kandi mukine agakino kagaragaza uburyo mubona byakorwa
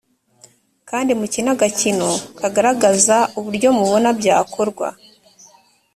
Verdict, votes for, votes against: accepted, 3, 0